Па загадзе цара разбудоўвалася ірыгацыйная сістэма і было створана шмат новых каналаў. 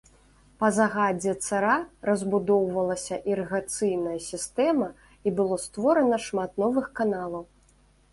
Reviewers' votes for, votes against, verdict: 2, 0, accepted